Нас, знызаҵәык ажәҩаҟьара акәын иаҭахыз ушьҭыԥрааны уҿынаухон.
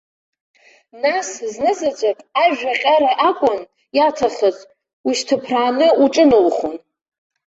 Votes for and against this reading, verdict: 2, 1, accepted